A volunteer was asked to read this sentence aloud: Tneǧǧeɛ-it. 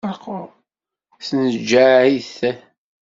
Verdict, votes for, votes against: rejected, 1, 2